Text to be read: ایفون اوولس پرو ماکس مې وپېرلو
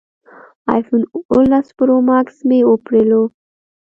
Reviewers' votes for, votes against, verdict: 2, 0, accepted